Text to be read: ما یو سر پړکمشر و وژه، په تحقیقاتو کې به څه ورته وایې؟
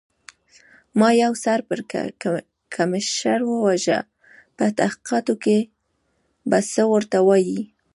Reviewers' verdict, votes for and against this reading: rejected, 0, 2